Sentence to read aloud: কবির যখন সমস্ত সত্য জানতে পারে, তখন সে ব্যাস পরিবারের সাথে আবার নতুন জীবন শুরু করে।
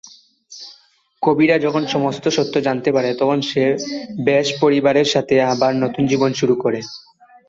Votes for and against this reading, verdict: 0, 2, rejected